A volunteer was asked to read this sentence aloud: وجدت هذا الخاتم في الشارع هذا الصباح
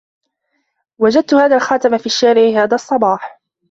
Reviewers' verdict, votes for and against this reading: accepted, 2, 0